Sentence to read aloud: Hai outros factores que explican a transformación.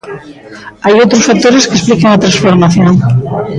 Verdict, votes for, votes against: rejected, 0, 2